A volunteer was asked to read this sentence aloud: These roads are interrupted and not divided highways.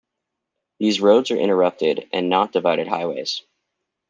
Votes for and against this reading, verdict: 2, 0, accepted